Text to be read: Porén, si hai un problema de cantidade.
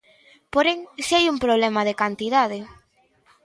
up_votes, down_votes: 2, 0